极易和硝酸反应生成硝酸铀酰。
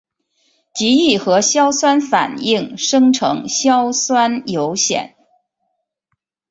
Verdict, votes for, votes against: accepted, 3, 1